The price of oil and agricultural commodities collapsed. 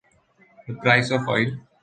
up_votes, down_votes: 1, 2